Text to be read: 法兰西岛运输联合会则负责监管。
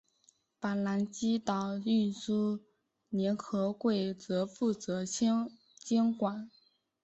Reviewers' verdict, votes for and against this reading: accepted, 3, 2